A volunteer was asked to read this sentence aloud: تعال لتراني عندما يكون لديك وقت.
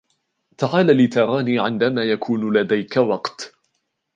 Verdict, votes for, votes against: accepted, 2, 0